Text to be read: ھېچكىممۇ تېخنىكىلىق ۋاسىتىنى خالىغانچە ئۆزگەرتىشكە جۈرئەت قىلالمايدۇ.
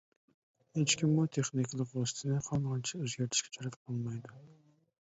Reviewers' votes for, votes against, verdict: 0, 2, rejected